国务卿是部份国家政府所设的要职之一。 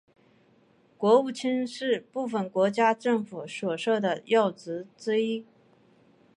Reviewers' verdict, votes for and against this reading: accepted, 3, 0